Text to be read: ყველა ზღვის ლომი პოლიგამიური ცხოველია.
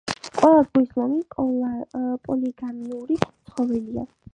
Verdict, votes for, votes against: accepted, 4, 0